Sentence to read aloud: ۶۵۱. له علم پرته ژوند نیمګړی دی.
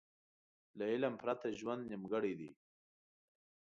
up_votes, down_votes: 0, 2